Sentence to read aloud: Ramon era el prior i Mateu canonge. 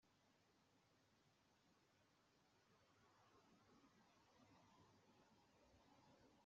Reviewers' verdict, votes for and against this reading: rejected, 0, 2